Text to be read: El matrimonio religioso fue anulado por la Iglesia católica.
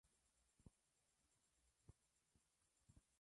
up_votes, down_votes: 0, 2